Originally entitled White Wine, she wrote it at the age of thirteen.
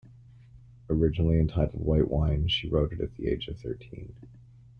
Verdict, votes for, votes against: accepted, 2, 1